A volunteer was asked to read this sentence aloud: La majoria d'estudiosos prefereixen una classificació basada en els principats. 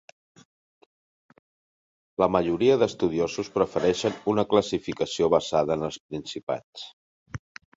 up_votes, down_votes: 1, 3